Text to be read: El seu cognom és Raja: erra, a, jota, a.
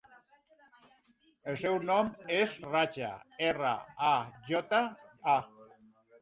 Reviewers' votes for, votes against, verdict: 1, 2, rejected